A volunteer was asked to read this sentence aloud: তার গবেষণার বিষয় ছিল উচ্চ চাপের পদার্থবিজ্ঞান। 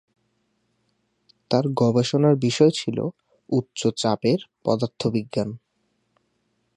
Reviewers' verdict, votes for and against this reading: accepted, 2, 0